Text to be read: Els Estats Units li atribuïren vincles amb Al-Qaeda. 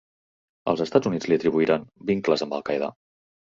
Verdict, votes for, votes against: rejected, 1, 2